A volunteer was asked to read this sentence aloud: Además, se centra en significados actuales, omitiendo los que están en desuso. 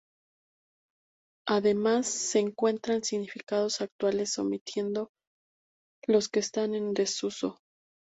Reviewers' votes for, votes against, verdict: 0, 2, rejected